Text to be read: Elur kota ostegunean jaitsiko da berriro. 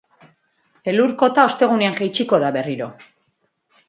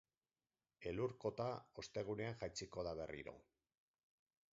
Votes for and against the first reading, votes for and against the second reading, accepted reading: 2, 0, 0, 4, first